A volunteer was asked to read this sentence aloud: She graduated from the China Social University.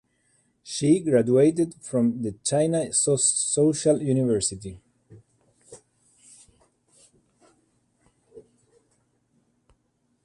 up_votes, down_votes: 4, 2